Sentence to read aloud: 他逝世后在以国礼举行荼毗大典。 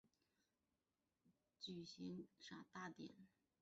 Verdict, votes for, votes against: rejected, 3, 5